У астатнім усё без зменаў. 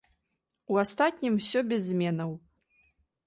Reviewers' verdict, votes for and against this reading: accepted, 3, 0